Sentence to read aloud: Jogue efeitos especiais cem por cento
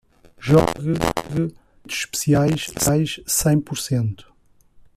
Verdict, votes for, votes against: rejected, 0, 2